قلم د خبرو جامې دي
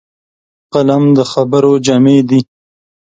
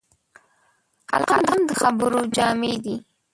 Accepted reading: first